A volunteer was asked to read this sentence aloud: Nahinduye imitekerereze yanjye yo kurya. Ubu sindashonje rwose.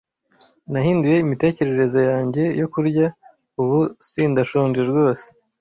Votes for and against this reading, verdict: 2, 0, accepted